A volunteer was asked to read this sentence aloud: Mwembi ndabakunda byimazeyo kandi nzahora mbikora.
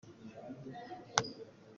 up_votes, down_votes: 0, 2